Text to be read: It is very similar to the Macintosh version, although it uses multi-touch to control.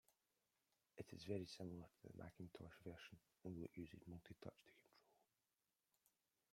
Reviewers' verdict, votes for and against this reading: rejected, 0, 2